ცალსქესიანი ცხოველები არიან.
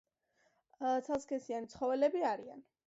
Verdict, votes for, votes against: accepted, 2, 1